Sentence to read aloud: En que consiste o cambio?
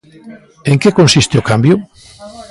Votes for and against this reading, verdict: 1, 2, rejected